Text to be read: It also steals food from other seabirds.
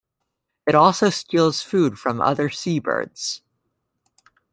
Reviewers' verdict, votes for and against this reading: accepted, 2, 0